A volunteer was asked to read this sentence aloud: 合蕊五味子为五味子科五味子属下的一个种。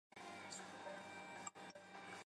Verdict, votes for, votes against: rejected, 0, 5